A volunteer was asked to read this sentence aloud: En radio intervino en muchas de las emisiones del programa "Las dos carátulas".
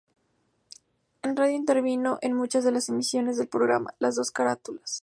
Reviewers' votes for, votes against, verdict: 2, 0, accepted